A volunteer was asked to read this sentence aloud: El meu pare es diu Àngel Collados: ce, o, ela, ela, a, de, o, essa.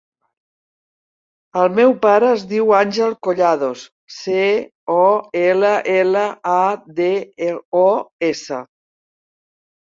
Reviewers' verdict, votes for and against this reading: rejected, 0, 2